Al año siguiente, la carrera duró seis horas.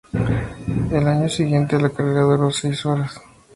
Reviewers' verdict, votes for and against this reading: rejected, 0, 2